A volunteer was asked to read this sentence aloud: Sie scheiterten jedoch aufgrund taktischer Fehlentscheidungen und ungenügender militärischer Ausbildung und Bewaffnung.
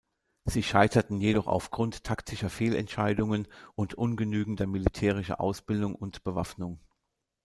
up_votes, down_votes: 0, 2